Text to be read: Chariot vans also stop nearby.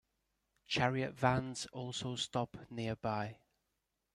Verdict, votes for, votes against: accepted, 2, 0